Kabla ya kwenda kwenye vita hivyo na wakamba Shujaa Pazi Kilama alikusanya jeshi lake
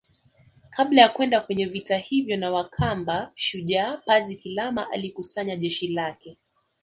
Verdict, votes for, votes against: accepted, 2, 0